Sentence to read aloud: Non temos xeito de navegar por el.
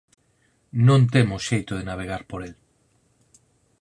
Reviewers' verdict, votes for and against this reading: accepted, 4, 0